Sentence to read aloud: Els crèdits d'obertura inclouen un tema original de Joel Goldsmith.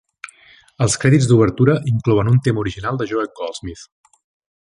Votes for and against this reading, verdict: 2, 0, accepted